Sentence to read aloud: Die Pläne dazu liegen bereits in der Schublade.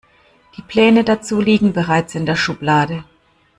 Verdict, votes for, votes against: accepted, 2, 0